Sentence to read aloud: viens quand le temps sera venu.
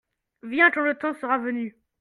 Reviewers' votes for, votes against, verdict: 2, 0, accepted